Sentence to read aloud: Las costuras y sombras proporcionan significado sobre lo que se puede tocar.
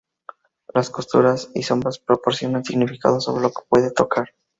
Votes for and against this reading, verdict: 0, 2, rejected